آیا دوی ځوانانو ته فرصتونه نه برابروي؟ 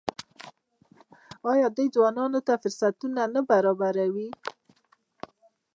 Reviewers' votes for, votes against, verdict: 2, 0, accepted